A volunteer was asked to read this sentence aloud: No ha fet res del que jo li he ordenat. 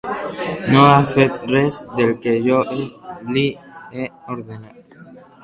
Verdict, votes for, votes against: rejected, 0, 2